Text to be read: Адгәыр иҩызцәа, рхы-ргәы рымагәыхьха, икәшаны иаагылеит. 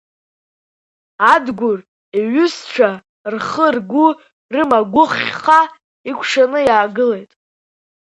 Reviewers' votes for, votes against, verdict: 2, 0, accepted